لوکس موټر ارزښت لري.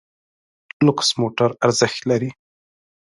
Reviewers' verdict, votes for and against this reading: accepted, 2, 0